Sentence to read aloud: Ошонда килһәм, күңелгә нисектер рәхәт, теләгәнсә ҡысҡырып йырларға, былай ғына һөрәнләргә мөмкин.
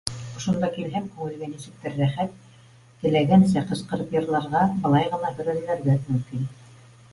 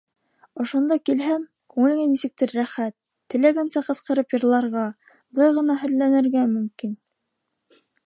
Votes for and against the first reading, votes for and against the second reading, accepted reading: 2, 1, 0, 2, first